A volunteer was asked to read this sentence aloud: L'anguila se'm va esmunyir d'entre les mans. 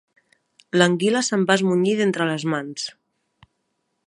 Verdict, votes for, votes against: accepted, 2, 0